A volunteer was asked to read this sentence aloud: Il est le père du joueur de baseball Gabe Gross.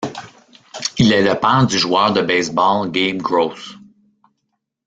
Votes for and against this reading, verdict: 2, 0, accepted